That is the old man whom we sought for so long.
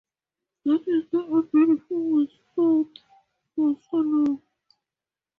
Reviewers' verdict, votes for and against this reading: rejected, 0, 4